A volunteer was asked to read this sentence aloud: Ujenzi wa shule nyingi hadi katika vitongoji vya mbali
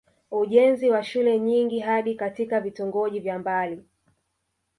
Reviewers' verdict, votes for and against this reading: rejected, 1, 2